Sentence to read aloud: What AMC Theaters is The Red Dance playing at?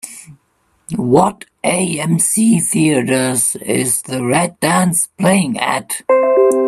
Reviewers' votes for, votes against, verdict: 2, 0, accepted